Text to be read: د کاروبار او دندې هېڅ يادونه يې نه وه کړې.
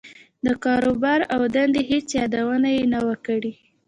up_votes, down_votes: 2, 0